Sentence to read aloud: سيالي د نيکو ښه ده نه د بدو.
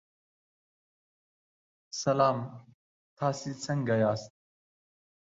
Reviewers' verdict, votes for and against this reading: rejected, 0, 2